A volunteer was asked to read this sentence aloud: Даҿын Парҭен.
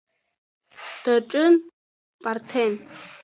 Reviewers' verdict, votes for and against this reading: accepted, 2, 1